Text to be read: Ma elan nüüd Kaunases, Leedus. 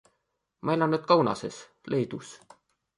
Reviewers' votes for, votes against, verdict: 2, 0, accepted